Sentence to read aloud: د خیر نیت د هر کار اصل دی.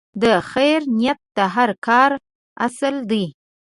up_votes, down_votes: 2, 0